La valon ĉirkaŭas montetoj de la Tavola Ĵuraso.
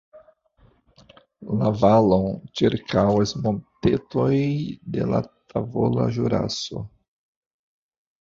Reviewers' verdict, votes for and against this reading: accepted, 2, 0